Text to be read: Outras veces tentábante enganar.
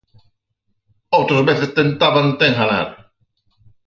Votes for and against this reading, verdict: 6, 0, accepted